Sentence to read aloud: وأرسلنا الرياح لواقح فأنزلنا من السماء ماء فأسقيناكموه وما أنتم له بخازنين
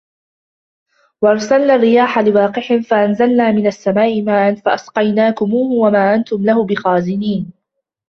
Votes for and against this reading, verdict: 1, 2, rejected